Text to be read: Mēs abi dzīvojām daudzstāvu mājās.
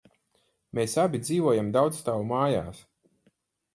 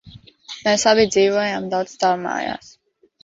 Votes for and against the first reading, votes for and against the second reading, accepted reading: 4, 2, 0, 2, first